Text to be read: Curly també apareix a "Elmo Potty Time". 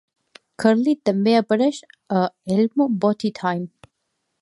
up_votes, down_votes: 3, 0